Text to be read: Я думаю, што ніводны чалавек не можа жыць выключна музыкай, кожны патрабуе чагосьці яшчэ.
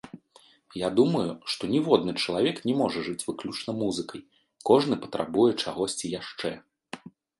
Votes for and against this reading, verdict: 2, 0, accepted